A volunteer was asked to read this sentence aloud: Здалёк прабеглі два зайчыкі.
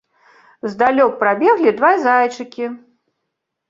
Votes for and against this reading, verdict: 2, 0, accepted